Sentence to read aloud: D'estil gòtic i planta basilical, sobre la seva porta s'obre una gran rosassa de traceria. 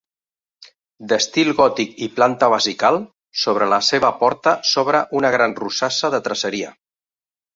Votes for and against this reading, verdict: 0, 2, rejected